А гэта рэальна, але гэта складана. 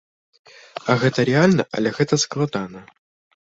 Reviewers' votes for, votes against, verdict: 1, 2, rejected